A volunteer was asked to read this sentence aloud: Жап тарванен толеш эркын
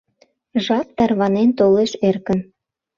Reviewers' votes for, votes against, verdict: 2, 0, accepted